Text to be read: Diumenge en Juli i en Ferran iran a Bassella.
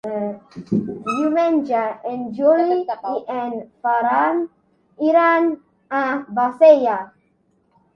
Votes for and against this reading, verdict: 1, 2, rejected